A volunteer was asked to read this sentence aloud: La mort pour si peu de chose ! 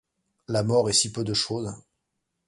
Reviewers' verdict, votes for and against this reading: rejected, 0, 2